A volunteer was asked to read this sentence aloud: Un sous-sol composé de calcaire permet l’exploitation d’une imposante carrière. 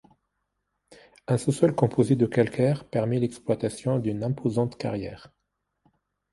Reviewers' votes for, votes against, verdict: 2, 0, accepted